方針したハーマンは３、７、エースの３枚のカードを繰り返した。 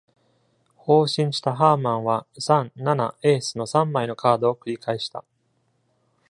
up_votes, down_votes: 0, 2